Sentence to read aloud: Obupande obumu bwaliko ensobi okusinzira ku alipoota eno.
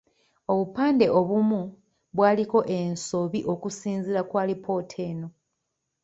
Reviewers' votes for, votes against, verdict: 2, 1, accepted